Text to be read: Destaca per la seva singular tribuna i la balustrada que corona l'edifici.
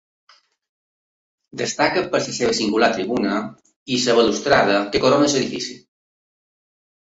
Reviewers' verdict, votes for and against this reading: rejected, 2, 4